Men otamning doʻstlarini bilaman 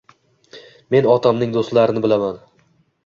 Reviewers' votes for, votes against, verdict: 2, 0, accepted